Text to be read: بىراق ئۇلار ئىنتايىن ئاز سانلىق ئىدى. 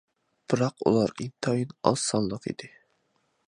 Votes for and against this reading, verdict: 2, 0, accepted